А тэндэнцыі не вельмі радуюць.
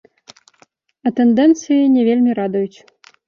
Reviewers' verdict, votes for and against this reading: accepted, 2, 0